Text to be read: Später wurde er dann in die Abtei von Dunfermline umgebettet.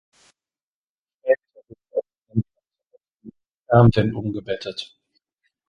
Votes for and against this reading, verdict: 0, 2, rejected